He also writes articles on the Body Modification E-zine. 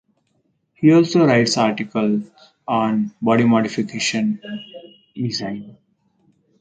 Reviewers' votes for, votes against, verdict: 0, 4, rejected